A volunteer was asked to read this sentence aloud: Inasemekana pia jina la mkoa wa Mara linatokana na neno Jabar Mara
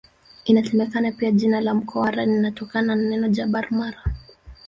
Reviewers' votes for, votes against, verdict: 0, 2, rejected